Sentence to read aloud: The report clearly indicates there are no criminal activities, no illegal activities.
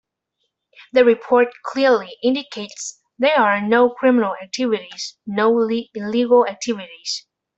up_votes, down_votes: 0, 2